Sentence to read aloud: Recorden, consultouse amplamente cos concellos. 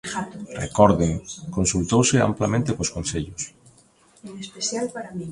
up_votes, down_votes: 2, 0